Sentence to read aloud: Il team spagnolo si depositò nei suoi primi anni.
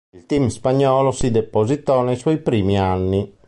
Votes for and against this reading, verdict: 2, 1, accepted